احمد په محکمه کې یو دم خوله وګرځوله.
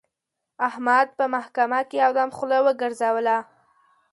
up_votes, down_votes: 2, 0